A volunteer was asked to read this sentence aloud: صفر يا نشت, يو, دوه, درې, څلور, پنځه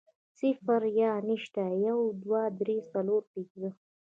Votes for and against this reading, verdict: 1, 2, rejected